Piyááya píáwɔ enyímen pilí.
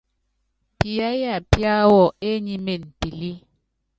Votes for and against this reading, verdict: 2, 0, accepted